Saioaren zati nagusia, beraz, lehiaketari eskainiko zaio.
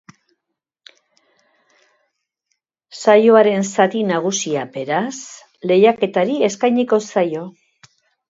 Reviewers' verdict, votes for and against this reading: accepted, 3, 0